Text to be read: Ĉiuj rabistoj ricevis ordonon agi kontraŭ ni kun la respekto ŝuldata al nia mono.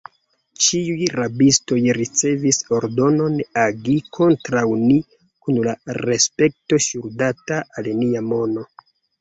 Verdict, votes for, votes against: accepted, 2, 0